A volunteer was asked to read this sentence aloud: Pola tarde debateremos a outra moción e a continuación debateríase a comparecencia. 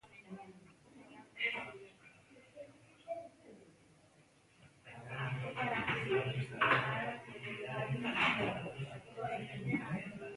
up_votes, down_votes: 0, 2